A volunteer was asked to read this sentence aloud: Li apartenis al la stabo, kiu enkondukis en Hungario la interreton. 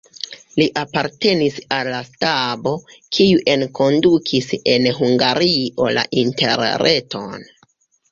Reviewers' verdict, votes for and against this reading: rejected, 2, 3